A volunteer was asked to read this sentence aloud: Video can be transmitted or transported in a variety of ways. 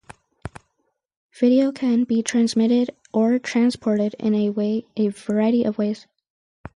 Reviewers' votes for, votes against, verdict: 0, 2, rejected